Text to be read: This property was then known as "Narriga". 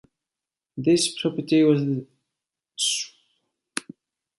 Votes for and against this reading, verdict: 0, 2, rejected